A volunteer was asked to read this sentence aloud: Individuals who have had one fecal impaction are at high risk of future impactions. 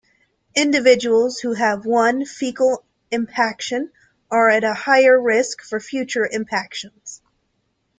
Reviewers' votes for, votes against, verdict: 1, 2, rejected